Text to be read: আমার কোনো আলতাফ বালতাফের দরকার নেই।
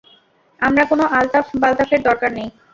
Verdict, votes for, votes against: rejected, 0, 2